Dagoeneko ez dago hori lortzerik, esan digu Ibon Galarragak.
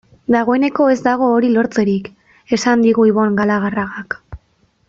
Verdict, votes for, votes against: accepted, 2, 1